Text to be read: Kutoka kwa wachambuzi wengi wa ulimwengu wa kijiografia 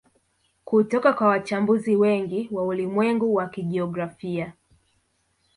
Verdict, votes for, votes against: rejected, 1, 2